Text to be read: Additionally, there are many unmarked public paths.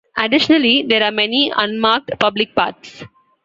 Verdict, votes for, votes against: accepted, 2, 0